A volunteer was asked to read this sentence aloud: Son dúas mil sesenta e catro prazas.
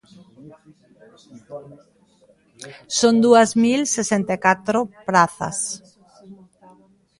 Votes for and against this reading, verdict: 1, 2, rejected